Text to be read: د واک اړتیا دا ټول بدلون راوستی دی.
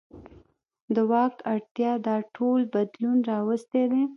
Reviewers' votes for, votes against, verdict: 1, 2, rejected